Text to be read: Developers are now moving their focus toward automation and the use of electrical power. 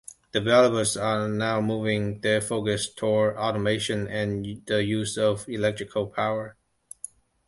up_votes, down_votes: 2, 0